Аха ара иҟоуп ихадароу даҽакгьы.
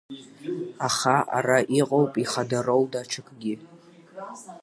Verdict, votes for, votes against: accepted, 8, 1